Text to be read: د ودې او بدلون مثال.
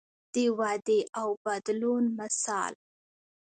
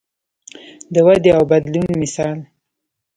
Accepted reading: first